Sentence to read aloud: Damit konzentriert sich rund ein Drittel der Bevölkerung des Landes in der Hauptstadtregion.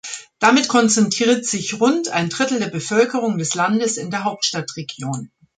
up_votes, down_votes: 1, 2